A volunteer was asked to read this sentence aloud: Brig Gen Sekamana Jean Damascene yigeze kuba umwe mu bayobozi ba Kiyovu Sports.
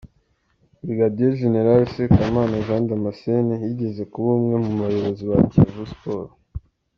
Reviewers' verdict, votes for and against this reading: accepted, 2, 0